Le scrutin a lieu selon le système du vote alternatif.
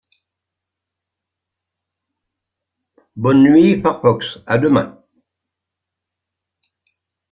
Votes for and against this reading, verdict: 0, 2, rejected